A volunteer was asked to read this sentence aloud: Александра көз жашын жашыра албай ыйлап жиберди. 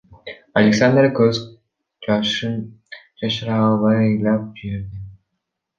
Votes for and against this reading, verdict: 1, 2, rejected